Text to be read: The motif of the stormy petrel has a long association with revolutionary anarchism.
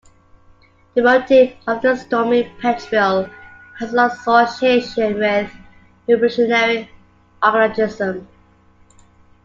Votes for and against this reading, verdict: 2, 1, accepted